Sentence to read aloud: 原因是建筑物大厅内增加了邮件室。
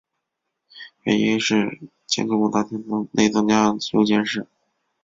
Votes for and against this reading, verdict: 0, 3, rejected